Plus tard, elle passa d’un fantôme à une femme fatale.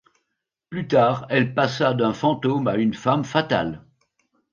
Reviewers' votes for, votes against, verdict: 2, 1, accepted